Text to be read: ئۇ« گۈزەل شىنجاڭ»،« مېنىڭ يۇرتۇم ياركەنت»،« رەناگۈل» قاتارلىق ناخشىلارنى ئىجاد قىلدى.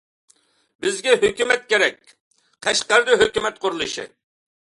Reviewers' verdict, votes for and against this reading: rejected, 1, 2